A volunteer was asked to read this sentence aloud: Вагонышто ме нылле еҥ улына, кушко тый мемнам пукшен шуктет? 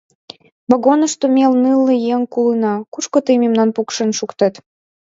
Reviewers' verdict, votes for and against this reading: accepted, 2, 0